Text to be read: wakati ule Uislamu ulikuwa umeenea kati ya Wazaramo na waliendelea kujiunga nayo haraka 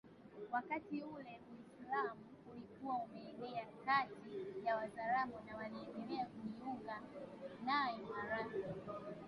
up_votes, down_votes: 1, 2